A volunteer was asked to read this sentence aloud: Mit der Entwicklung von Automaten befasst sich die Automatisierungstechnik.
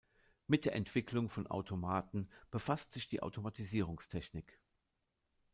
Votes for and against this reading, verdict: 2, 1, accepted